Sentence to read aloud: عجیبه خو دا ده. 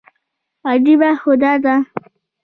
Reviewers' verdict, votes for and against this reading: rejected, 1, 2